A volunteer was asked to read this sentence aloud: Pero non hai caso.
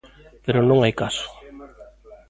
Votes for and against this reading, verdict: 0, 2, rejected